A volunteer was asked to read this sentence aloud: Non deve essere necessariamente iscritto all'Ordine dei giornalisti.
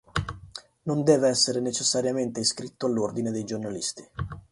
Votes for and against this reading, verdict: 2, 2, rejected